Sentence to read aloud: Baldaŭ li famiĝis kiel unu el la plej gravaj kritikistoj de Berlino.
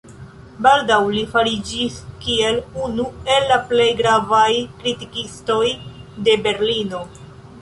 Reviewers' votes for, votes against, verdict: 0, 2, rejected